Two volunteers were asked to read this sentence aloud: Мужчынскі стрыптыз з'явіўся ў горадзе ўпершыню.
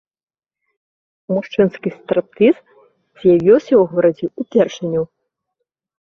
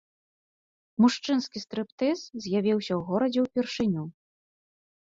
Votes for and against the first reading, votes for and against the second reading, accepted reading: 1, 2, 3, 0, second